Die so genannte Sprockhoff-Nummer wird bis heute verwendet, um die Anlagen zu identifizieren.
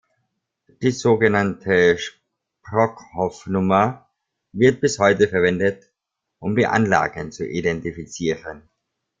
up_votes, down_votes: 0, 2